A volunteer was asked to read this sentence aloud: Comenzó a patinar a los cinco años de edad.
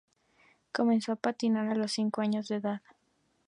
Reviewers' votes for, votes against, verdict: 2, 0, accepted